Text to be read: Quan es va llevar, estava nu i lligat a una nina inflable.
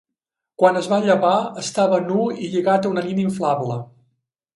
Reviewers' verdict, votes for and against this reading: accepted, 2, 0